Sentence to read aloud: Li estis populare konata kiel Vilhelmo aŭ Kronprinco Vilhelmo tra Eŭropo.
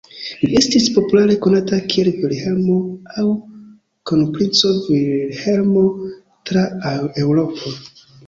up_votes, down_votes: 2, 0